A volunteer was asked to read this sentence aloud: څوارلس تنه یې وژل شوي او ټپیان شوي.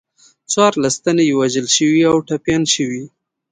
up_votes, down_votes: 2, 0